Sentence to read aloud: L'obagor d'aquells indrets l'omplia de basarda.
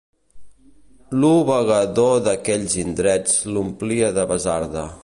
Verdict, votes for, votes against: rejected, 0, 2